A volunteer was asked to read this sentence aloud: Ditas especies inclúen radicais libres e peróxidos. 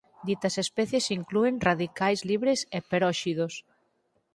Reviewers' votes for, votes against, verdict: 6, 2, accepted